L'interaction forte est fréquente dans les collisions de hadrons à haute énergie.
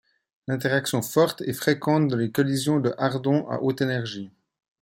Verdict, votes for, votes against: rejected, 1, 2